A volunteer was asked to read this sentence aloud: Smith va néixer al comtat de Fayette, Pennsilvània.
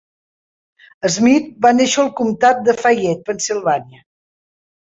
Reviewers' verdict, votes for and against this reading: accepted, 4, 0